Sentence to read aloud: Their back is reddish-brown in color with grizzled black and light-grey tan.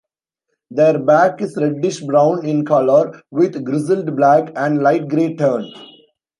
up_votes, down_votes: 1, 2